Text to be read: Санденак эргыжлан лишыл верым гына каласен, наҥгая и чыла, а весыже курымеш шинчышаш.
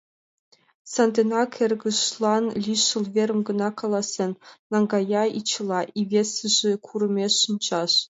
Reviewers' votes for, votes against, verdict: 0, 2, rejected